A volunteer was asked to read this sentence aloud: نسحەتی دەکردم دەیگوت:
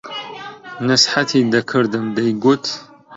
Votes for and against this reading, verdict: 1, 2, rejected